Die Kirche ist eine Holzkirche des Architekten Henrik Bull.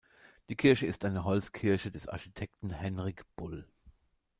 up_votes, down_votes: 2, 0